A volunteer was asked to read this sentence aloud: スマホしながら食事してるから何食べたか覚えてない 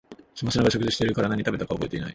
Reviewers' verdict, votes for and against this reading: rejected, 0, 2